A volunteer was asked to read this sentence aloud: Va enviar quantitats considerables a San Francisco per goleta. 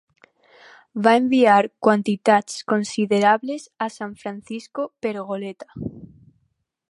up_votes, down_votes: 4, 0